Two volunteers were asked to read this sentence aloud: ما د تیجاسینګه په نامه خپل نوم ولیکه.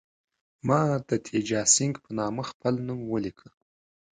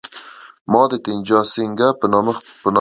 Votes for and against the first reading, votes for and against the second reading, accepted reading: 2, 0, 0, 5, first